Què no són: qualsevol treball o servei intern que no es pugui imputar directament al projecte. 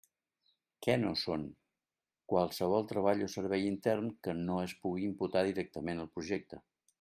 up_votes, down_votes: 3, 0